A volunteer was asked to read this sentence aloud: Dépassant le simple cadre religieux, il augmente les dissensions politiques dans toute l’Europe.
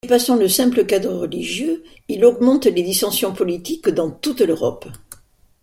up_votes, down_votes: 2, 0